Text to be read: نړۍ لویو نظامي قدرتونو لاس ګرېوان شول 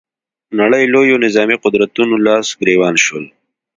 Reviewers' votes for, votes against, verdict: 2, 0, accepted